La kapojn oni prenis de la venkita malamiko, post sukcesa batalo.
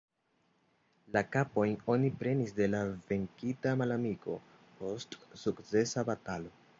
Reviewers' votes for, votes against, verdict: 2, 0, accepted